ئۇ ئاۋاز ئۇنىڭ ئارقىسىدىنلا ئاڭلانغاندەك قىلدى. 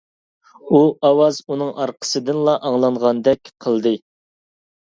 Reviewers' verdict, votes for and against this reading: accepted, 2, 0